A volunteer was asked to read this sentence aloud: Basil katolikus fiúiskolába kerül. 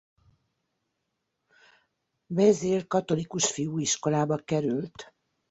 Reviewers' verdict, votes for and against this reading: rejected, 1, 2